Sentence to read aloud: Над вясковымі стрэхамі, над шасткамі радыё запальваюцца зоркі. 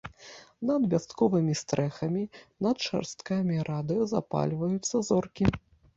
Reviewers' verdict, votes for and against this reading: rejected, 1, 2